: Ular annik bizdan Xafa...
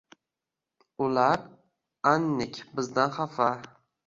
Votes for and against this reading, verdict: 1, 2, rejected